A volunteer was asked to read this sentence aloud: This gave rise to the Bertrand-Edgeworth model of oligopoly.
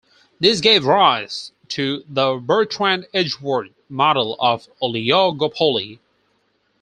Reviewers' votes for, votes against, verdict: 0, 4, rejected